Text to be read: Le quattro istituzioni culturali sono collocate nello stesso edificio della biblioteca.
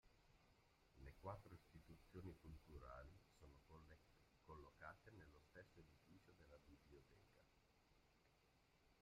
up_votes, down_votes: 0, 2